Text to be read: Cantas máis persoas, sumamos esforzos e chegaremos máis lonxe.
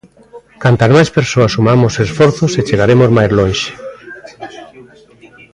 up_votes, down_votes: 1, 2